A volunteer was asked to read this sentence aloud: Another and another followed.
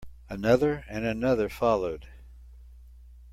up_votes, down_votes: 2, 0